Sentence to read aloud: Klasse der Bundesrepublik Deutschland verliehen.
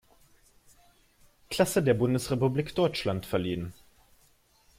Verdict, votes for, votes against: accepted, 2, 1